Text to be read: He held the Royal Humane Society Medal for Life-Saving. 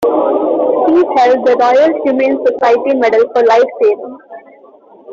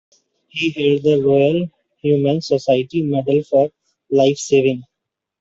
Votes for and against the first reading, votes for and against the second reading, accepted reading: 0, 2, 2, 1, second